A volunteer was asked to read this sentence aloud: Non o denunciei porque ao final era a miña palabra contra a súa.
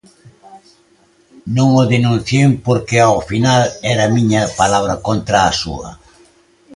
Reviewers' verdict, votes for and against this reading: accepted, 2, 0